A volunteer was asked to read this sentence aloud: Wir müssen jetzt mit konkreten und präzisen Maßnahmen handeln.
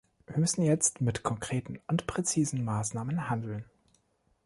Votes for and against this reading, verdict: 2, 0, accepted